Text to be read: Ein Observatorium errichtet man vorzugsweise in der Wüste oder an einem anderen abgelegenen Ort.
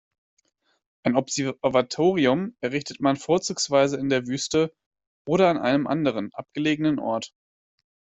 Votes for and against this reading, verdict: 0, 2, rejected